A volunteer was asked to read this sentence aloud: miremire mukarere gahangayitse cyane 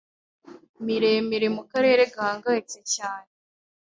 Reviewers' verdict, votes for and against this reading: accepted, 2, 0